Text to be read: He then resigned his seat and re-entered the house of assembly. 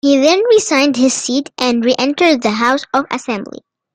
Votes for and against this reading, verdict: 2, 0, accepted